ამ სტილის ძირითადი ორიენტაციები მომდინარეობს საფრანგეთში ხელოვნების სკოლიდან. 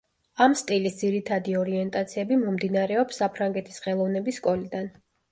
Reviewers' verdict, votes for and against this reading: rejected, 1, 2